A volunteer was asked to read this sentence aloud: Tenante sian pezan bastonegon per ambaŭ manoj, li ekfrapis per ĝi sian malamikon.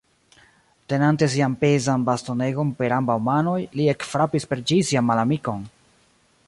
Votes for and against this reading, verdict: 2, 0, accepted